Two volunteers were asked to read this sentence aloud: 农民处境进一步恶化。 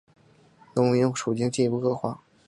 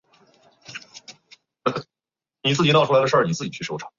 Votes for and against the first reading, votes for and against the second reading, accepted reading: 3, 0, 0, 4, first